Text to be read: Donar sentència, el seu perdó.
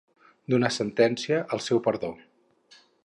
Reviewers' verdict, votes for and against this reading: accepted, 2, 0